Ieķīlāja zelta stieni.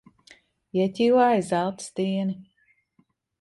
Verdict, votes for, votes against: accepted, 2, 0